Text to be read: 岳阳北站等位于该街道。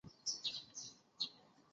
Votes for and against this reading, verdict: 0, 5, rejected